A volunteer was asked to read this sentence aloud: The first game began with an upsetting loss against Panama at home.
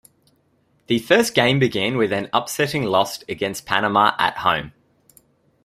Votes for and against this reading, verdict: 2, 0, accepted